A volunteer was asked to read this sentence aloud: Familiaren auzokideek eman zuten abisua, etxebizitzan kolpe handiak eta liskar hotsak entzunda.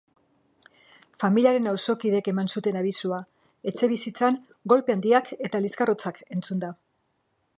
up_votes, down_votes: 1, 2